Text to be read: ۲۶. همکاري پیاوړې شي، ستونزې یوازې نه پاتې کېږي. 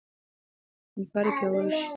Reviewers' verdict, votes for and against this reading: rejected, 0, 2